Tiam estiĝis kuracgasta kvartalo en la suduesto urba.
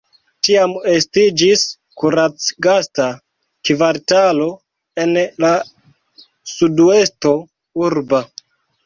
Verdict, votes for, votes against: rejected, 0, 2